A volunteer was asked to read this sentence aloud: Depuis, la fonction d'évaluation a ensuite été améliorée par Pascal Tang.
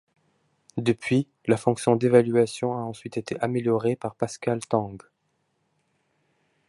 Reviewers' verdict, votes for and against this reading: accepted, 2, 0